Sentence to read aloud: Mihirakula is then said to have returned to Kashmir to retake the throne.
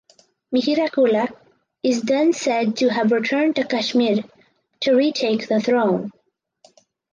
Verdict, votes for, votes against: accepted, 4, 0